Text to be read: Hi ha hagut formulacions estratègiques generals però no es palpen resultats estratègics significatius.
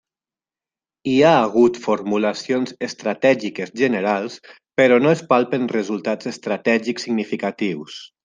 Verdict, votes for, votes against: accepted, 3, 0